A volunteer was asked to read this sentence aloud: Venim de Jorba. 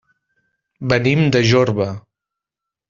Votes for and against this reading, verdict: 3, 0, accepted